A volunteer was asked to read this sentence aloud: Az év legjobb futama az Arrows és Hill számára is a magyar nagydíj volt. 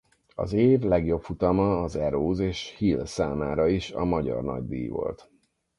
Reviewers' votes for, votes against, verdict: 2, 4, rejected